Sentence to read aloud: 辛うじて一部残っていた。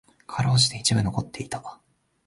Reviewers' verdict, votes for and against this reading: rejected, 1, 2